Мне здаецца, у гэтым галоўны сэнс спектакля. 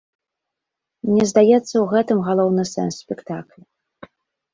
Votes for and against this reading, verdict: 2, 0, accepted